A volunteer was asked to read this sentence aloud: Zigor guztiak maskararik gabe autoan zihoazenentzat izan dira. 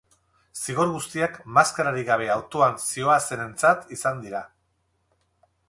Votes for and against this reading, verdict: 4, 0, accepted